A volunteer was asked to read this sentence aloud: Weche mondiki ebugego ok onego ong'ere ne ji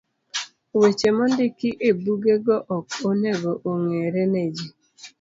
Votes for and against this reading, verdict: 2, 0, accepted